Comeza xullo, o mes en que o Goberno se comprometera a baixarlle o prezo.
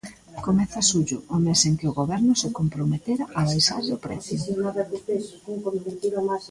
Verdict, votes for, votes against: rejected, 1, 2